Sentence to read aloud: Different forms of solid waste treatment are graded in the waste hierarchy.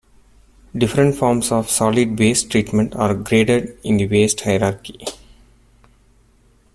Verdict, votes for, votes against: accepted, 2, 1